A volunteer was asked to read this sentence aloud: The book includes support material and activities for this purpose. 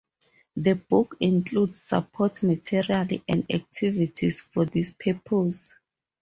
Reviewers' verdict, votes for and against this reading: rejected, 2, 2